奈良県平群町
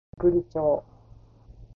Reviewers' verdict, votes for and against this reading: rejected, 0, 2